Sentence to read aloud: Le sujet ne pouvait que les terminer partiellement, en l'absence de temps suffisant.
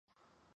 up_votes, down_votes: 0, 3